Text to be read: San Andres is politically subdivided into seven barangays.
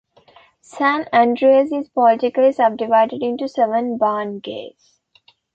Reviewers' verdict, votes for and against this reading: rejected, 1, 2